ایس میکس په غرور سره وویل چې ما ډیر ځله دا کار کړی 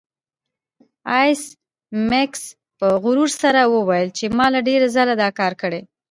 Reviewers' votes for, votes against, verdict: 2, 0, accepted